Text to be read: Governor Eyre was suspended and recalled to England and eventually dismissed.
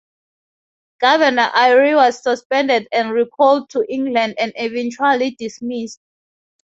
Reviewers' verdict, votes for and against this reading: accepted, 4, 0